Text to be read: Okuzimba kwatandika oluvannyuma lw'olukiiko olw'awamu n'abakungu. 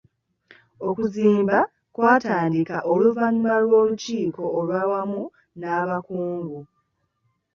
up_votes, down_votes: 2, 0